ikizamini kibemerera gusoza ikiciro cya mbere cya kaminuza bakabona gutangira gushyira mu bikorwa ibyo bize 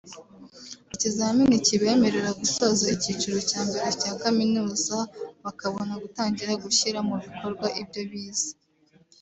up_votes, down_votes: 2, 0